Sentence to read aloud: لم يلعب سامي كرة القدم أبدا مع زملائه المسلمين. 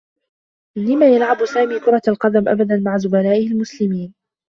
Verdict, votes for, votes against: rejected, 0, 2